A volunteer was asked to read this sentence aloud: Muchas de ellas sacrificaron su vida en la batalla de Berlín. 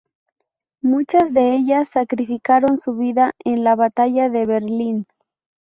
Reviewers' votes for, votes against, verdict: 2, 2, rejected